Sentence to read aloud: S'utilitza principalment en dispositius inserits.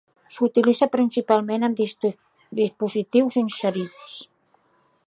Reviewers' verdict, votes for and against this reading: rejected, 0, 3